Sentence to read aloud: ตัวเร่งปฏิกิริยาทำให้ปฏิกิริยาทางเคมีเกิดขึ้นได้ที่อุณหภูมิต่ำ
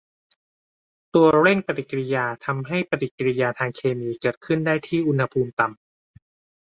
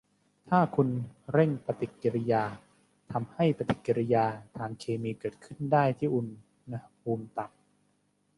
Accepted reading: first